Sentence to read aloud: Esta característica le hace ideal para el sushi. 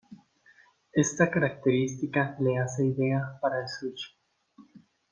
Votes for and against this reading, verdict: 2, 0, accepted